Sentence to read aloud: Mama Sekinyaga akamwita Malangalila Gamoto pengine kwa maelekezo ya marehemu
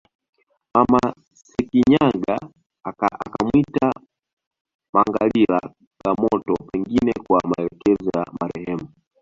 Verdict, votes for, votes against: rejected, 1, 2